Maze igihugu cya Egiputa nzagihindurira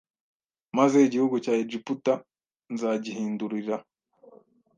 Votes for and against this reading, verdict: 2, 0, accepted